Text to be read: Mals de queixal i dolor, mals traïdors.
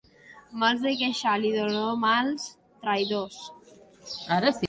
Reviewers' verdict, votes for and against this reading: rejected, 1, 2